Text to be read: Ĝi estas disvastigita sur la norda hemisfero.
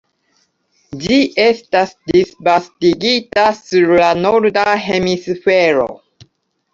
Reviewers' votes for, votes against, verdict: 2, 1, accepted